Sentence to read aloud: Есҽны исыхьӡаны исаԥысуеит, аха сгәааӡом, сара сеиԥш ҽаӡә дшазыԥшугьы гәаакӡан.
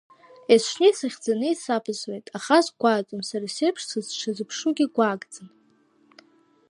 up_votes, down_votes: 1, 2